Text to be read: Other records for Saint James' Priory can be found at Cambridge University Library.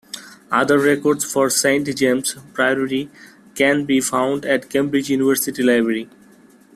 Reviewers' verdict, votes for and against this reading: rejected, 0, 2